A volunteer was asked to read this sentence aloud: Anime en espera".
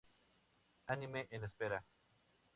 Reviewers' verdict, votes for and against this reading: accepted, 2, 0